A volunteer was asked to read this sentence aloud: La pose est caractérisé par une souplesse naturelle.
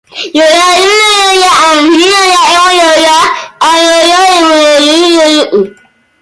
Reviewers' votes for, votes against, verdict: 0, 2, rejected